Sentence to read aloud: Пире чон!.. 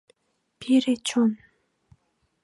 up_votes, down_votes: 2, 0